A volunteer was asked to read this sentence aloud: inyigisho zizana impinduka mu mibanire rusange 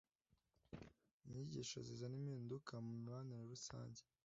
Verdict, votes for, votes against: accepted, 2, 0